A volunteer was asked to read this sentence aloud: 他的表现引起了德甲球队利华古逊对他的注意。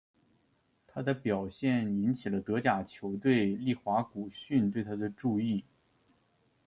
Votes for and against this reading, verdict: 2, 0, accepted